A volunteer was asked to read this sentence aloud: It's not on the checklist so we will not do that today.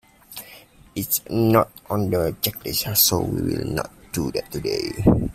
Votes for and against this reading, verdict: 0, 2, rejected